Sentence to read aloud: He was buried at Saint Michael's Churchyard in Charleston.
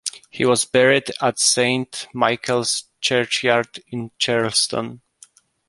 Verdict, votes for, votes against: accepted, 3, 0